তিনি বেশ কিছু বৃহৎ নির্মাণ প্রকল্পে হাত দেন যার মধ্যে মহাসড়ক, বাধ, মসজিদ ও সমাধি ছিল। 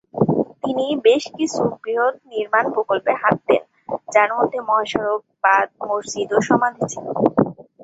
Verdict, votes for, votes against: rejected, 0, 2